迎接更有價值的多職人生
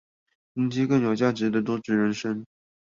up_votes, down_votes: 2, 2